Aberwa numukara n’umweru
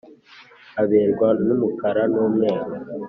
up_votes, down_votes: 3, 0